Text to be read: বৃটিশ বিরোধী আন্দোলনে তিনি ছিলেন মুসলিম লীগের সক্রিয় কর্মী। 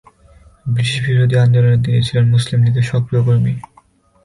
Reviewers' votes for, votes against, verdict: 1, 4, rejected